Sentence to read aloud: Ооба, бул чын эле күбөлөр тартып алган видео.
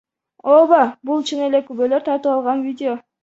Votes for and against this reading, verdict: 1, 2, rejected